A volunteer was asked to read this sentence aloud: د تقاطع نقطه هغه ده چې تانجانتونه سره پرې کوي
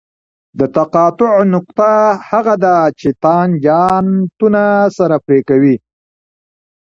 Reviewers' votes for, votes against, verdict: 2, 0, accepted